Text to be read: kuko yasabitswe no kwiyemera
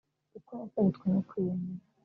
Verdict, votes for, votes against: rejected, 1, 2